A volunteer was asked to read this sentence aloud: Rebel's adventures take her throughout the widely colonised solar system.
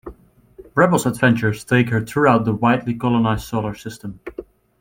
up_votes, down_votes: 2, 0